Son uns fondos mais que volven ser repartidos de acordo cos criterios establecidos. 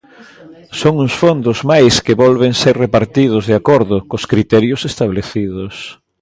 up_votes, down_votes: 2, 0